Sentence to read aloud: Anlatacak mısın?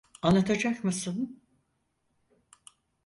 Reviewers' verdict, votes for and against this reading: accepted, 4, 0